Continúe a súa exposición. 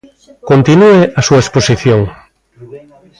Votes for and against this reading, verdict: 2, 0, accepted